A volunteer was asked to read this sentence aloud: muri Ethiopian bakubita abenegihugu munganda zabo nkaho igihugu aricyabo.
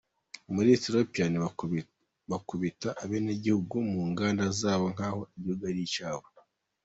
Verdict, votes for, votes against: rejected, 0, 2